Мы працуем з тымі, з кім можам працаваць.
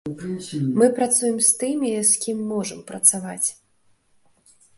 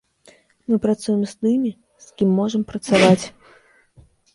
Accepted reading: first